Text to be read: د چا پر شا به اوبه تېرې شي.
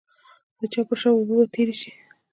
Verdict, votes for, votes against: accepted, 2, 0